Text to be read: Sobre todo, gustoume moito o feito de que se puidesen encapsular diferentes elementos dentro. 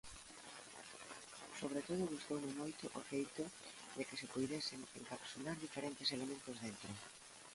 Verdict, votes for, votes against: rejected, 0, 2